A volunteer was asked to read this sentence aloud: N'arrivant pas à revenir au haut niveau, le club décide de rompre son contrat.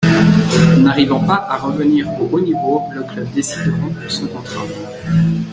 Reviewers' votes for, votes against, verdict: 1, 2, rejected